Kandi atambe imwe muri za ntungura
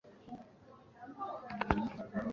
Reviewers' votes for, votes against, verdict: 1, 2, rejected